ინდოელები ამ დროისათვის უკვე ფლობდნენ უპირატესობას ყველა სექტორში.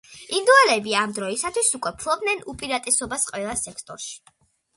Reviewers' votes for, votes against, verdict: 2, 0, accepted